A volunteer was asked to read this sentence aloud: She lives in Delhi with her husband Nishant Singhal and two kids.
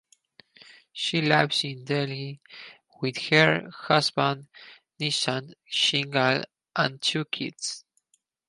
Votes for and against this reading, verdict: 0, 4, rejected